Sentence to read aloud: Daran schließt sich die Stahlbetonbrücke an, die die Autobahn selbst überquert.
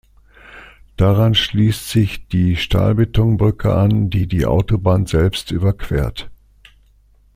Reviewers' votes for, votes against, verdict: 2, 0, accepted